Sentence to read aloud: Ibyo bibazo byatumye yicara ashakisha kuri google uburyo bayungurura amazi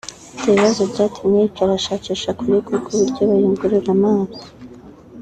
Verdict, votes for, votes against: rejected, 2, 2